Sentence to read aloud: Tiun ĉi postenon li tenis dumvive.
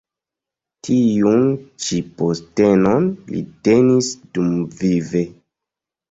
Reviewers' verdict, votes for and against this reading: accepted, 2, 0